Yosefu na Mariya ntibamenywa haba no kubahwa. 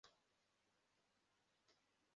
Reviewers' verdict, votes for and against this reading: rejected, 0, 2